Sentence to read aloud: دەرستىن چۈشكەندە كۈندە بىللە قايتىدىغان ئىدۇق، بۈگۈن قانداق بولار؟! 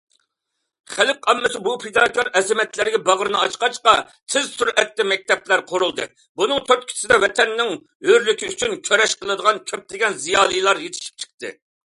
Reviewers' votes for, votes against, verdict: 0, 2, rejected